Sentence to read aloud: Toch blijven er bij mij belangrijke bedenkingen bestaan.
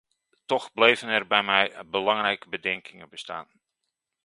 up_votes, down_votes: 1, 2